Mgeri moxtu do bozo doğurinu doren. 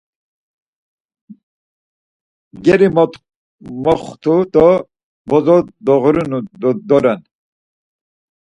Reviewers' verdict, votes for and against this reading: rejected, 0, 4